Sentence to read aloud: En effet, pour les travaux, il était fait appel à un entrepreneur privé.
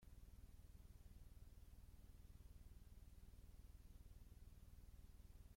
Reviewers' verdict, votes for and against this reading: rejected, 0, 2